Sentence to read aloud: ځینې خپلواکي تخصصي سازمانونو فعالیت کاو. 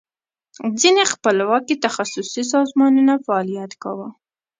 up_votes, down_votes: 2, 0